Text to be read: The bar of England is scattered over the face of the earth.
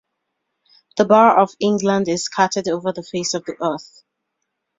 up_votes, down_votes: 2, 0